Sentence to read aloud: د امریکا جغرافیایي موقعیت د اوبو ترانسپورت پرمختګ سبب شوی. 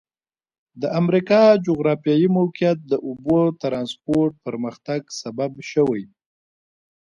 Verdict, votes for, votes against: rejected, 0, 2